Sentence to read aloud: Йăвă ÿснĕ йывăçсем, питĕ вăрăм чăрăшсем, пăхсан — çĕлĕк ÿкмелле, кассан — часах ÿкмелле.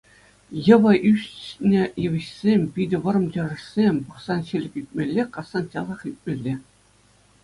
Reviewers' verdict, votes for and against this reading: accepted, 2, 0